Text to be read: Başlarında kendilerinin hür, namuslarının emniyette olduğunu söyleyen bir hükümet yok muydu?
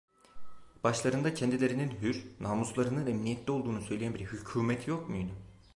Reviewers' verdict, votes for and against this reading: rejected, 1, 2